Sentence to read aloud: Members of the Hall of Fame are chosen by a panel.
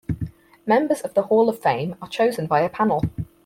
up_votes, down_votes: 4, 0